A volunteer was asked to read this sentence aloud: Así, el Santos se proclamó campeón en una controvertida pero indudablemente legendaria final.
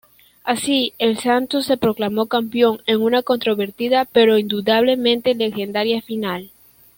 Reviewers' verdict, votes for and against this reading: accepted, 2, 0